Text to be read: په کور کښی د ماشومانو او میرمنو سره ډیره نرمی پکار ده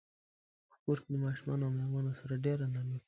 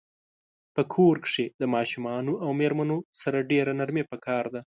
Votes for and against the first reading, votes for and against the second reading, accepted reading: 0, 4, 3, 0, second